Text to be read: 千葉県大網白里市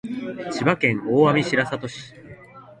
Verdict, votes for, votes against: accepted, 2, 0